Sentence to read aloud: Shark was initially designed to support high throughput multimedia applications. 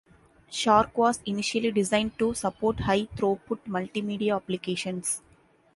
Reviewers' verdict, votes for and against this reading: accepted, 2, 0